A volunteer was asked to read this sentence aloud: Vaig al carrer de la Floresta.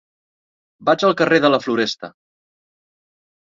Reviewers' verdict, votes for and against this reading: accepted, 2, 0